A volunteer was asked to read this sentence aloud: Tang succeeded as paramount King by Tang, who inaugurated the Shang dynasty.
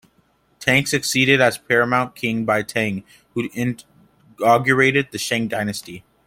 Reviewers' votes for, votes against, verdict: 2, 0, accepted